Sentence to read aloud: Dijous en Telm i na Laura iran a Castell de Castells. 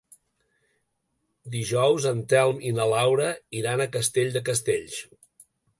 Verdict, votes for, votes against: accepted, 3, 0